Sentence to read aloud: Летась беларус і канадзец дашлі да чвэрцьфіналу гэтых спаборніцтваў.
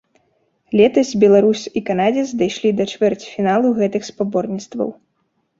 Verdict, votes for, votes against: rejected, 1, 2